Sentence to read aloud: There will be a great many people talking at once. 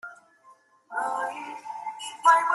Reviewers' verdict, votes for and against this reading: rejected, 0, 2